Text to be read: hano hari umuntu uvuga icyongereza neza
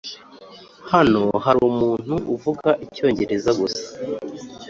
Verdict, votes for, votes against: rejected, 0, 3